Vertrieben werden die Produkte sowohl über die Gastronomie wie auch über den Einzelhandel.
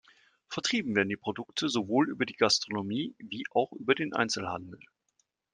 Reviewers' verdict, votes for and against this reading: accepted, 2, 0